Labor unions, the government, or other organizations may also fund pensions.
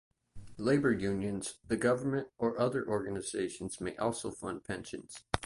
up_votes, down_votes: 2, 0